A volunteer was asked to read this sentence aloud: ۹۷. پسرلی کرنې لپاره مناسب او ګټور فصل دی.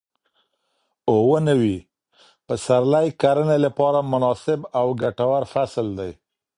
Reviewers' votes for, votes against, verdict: 0, 2, rejected